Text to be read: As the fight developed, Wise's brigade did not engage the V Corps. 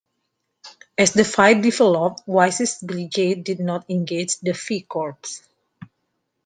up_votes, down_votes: 1, 2